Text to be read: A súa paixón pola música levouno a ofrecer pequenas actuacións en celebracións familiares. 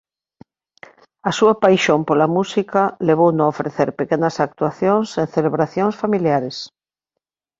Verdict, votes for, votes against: accepted, 2, 0